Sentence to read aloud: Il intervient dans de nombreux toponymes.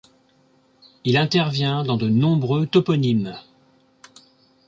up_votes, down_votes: 2, 0